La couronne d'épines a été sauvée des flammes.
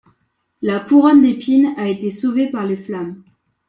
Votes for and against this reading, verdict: 0, 2, rejected